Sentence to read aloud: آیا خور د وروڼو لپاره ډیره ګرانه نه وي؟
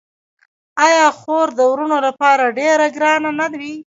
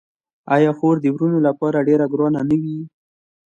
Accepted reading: second